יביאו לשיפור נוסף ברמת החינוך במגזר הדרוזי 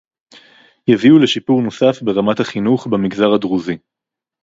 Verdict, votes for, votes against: accepted, 4, 0